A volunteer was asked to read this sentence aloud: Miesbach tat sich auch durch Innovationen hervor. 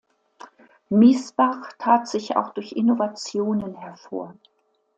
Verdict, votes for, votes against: accepted, 2, 0